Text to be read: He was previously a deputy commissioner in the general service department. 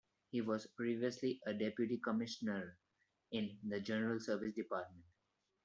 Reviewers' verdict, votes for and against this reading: accepted, 2, 1